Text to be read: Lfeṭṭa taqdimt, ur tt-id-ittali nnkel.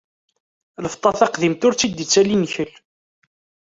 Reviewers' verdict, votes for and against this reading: accepted, 2, 0